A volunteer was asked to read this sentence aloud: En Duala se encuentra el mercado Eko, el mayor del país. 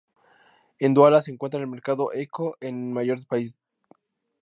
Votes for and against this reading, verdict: 2, 0, accepted